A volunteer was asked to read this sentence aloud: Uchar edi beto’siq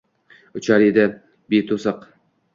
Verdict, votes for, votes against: accepted, 2, 0